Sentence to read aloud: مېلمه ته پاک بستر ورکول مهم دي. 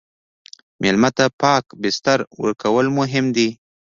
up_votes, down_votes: 2, 0